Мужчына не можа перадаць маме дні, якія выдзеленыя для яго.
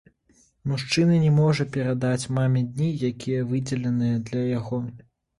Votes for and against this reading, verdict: 1, 2, rejected